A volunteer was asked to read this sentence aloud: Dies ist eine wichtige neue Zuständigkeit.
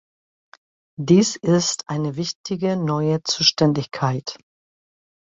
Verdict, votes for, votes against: rejected, 1, 2